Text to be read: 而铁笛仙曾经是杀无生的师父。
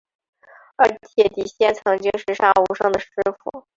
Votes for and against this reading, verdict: 1, 3, rejected